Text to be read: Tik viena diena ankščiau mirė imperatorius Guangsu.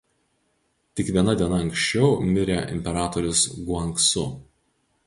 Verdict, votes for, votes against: accepted, 2, 0